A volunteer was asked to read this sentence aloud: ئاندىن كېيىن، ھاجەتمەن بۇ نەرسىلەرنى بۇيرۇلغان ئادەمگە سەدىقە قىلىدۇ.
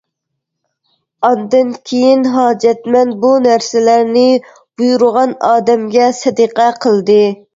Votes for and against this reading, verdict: 0, 2, rejected